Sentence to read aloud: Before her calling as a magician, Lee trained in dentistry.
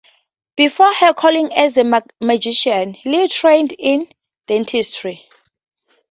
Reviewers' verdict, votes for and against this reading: accepted, 2, 0